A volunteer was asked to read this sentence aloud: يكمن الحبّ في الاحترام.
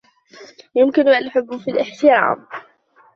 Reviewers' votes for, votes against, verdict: 0, 3, rejected